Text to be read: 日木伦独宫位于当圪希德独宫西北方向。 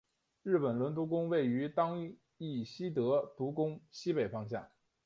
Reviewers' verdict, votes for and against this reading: accepted, 3, 1